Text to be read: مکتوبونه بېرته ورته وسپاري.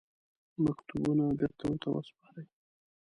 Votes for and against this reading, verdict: 2, 0, accepted